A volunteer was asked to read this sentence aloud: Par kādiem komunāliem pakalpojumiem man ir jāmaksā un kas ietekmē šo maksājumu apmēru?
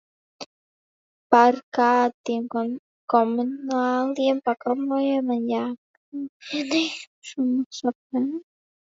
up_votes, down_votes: 0, 2